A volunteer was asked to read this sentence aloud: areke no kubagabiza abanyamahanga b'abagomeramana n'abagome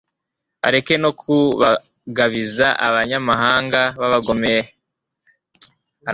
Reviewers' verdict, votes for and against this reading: rejected, 1, 2